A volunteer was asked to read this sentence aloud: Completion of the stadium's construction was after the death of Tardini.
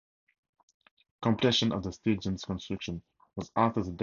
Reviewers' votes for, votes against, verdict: 0, 2, rejected